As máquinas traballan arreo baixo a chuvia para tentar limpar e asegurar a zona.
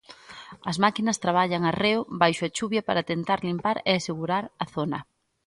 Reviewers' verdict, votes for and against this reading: accepted, 2, 0